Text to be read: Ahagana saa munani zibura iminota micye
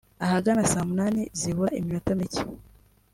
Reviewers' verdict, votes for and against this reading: accepted, 2, 0